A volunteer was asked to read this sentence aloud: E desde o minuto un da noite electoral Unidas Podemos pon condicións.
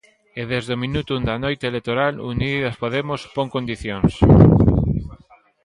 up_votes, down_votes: 2, 1